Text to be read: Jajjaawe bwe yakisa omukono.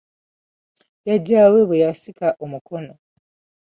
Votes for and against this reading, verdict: 2, 1, accepted